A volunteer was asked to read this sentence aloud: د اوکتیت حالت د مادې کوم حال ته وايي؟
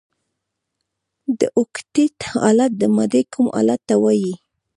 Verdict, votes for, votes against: rejected, 0, 2